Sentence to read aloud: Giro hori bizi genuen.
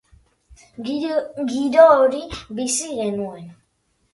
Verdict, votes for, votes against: rejected, 1, 2